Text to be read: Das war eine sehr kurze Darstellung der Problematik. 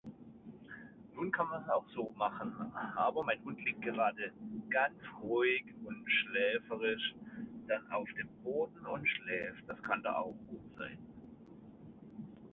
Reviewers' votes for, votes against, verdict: 0, 2, rejected